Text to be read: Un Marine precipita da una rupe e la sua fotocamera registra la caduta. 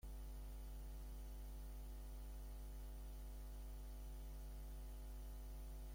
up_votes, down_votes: 0, 2